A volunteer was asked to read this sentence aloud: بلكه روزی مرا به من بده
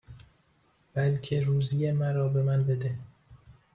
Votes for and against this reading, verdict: 2, 0, accepted